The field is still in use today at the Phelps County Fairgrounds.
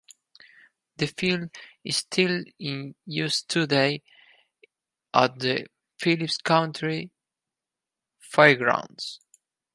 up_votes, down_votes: 0, 4